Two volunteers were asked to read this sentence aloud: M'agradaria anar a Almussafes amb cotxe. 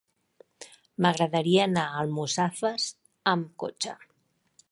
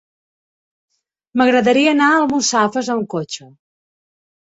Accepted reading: first